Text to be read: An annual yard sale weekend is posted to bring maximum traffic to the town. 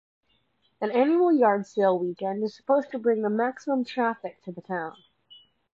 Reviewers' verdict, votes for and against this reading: rejected, 1, 2